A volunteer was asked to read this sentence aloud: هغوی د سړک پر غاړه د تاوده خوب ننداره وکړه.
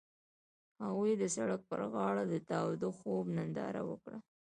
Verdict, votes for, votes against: accepted, 2, 0